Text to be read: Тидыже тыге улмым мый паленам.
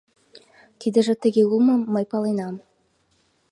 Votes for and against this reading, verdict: 2, 0, accepted